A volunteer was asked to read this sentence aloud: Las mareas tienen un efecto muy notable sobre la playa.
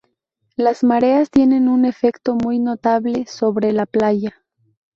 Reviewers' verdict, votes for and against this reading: rejected, 2, 2